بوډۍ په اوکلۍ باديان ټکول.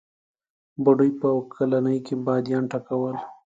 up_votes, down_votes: 2, 1